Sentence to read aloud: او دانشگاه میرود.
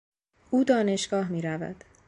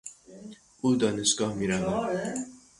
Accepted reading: first